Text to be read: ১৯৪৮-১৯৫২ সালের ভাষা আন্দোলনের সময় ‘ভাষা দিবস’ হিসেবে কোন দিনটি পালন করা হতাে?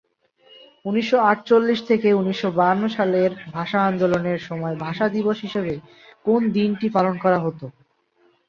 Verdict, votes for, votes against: rejected, 0, 2